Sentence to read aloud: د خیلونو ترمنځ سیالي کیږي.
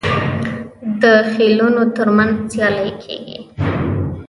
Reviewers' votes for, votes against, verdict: 0, 3, rejected